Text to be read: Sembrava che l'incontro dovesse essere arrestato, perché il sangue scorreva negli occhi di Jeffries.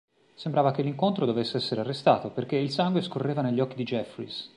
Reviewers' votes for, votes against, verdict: 3, 0, accepted